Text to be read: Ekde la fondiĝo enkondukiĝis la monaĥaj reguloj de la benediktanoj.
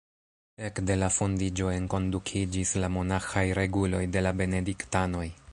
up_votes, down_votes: 1, 2